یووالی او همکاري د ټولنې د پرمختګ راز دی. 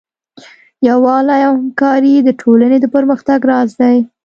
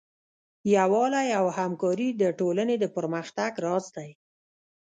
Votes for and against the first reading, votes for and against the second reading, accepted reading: 2, 0, 0, 2, first